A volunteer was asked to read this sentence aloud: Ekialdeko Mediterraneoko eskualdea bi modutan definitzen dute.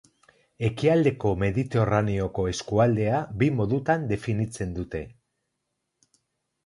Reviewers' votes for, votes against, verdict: 2, 2, rejected